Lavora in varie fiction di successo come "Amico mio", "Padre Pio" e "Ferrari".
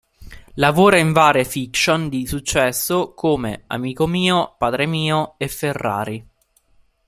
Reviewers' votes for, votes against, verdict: 0, 2, rejected